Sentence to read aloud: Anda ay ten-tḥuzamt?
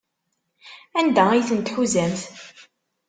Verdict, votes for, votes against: accepted, 2, 0